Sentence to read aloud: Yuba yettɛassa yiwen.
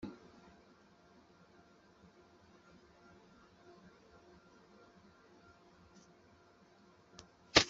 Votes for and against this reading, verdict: 1, 2, rejected